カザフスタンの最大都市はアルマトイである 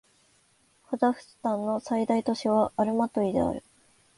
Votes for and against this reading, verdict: 0, 2, rejected